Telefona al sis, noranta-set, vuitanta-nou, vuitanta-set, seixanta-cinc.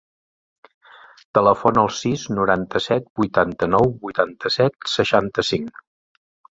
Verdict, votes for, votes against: accepted, 3, 0